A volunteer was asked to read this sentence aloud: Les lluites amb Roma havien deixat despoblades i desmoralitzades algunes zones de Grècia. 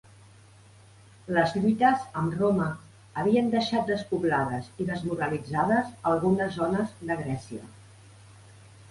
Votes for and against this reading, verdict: 2, 0, accepted